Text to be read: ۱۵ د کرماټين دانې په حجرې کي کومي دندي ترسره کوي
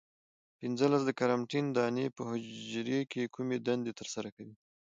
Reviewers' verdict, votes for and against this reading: rejected, 0, 2